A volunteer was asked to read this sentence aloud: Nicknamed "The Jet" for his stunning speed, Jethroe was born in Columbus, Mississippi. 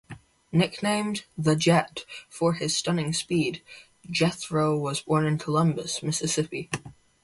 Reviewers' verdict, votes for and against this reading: accepted, 4, 0